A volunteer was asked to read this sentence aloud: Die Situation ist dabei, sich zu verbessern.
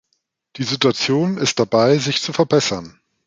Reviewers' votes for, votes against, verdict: 2, 0, accepted